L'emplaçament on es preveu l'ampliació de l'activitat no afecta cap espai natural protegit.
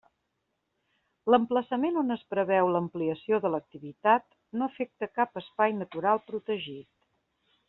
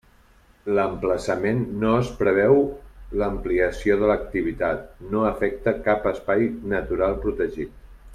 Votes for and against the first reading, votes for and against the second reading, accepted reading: 3, 0, 1, 2, first